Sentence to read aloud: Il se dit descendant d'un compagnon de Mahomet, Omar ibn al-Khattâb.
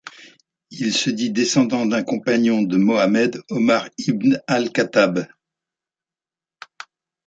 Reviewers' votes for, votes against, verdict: 0, 2, rejected